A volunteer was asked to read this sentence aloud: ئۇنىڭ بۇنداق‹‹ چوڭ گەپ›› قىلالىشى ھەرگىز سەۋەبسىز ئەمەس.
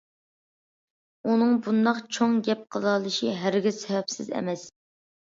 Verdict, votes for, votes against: accepted, 2, 0